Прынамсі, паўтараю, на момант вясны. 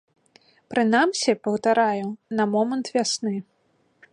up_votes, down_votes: 2, 0